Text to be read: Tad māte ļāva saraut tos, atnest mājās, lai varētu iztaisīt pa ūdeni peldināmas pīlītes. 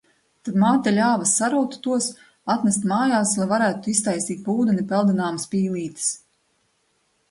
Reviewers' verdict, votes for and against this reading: accepted, 2, 0